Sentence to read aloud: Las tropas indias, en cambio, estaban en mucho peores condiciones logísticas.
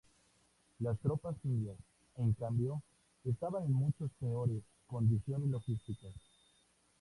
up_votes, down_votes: 2, 0